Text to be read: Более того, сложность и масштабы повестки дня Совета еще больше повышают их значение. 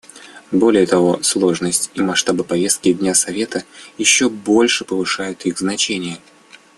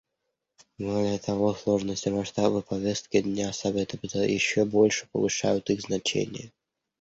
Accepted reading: first